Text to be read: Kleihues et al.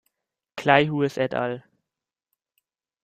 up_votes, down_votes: 0, 2